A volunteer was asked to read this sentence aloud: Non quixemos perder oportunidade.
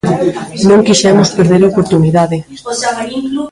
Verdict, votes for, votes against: rejected, 0, 2